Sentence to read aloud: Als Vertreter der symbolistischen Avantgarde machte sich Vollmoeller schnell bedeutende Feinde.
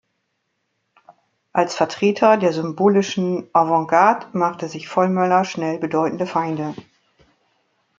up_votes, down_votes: 0, 2